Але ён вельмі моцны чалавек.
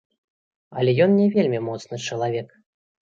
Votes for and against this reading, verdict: 1, 2, rejected